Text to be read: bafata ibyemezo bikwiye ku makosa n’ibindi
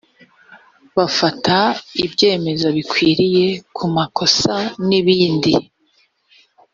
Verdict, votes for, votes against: rejected, 0, 2